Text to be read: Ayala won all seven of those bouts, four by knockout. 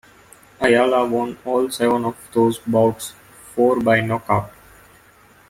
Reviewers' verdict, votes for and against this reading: accepted, 2, 0